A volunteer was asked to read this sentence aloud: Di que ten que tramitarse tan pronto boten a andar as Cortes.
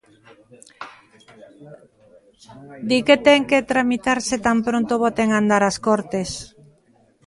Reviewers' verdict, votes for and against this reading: accepted, 2, 1